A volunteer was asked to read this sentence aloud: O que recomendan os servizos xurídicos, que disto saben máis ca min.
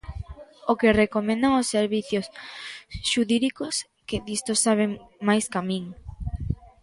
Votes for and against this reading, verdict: 0, 2, rejected